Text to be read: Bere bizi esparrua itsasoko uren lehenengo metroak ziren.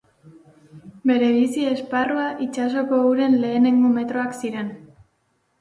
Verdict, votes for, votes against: accepted, 2, 0